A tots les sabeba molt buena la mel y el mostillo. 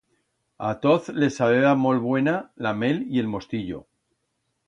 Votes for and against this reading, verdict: 1, 2, rejected